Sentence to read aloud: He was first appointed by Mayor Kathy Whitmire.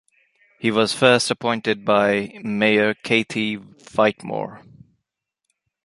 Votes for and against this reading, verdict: 2, 4, rejected